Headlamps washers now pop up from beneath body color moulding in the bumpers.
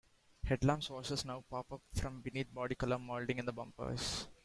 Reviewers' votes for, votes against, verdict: 0, 2, rejected